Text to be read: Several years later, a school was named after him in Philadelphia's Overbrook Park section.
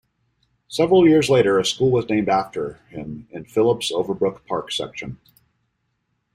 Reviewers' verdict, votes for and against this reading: rejected, 0, 2